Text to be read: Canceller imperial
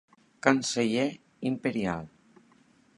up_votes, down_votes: 2, 0